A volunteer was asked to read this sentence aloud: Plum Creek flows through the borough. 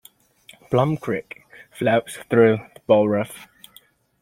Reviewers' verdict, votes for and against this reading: rejected, 0, 2